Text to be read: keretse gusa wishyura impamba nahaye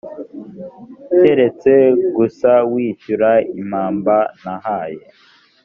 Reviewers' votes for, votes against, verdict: 2, 0, accepted